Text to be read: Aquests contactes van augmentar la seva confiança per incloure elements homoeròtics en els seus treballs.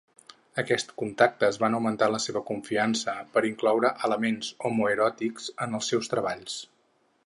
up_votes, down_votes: 6, 0